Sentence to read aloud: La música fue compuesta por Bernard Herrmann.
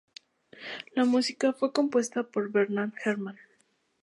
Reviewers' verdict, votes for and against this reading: accepted, 2, 0